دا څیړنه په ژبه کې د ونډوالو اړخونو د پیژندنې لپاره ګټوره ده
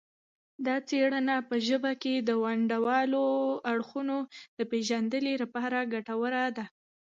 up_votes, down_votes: 1, 2